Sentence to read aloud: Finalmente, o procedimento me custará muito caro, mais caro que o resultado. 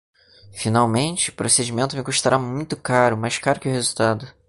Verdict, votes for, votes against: accepted, 2, 0